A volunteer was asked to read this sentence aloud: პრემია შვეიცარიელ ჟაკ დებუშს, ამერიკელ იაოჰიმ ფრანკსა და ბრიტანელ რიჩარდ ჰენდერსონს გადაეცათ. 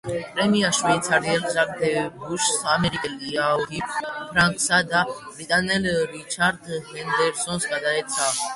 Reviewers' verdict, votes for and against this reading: rejected, 1, 2